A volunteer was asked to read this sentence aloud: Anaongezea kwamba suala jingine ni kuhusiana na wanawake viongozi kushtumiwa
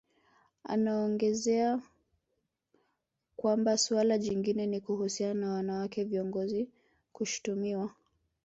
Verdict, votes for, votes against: accepted, 2, 0